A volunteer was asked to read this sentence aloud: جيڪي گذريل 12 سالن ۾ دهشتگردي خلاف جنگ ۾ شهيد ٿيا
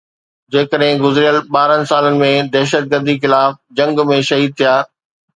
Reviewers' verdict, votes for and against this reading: rejected, 0, 2